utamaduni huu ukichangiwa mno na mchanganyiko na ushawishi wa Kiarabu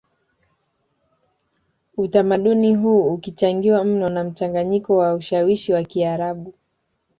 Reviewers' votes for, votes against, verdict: 1, 2, rejected